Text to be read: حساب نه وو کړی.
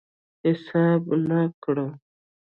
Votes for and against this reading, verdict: 1, 2, rejected